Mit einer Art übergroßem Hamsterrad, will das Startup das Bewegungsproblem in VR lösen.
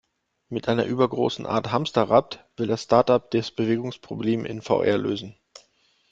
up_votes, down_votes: 0, 2